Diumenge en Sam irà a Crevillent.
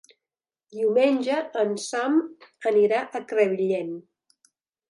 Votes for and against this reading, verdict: 0, 2, rejected